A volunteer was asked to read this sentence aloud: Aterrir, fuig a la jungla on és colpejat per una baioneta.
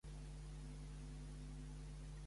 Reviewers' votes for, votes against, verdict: 0, 2, rejected